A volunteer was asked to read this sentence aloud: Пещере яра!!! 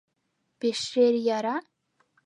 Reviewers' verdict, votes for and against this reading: rejected, 1, 2